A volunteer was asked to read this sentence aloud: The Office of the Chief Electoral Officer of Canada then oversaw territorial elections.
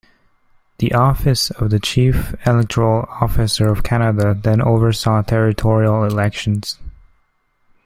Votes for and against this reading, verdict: 2, 0, accepted